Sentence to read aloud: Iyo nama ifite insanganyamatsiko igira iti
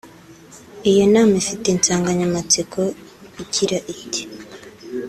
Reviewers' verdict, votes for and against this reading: accepted, 3, 0